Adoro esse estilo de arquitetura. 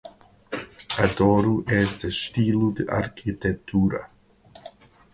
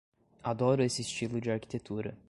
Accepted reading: second